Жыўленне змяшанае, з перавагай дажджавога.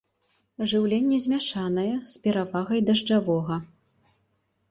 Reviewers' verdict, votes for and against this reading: accepted, 2, 0